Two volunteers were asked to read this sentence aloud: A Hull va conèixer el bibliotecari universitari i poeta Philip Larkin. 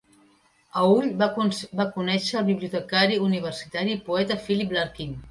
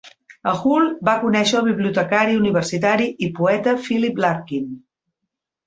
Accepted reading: second